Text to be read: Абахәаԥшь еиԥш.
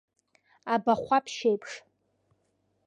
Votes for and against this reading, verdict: 2, 0, accepted